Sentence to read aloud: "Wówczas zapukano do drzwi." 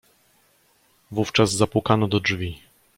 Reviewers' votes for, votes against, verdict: 2, 0, accepted